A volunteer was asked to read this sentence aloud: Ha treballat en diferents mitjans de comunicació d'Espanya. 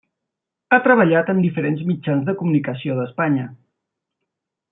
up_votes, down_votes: 3, 0